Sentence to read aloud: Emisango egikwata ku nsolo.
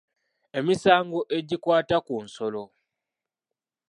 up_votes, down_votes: 2, 0